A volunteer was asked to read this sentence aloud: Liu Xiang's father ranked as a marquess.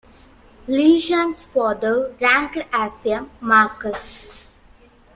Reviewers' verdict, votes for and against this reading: rejected, 1, 2